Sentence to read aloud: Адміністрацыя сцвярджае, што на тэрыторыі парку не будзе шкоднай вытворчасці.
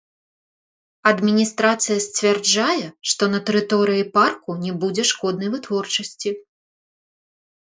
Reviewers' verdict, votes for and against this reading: rejected, 0, 2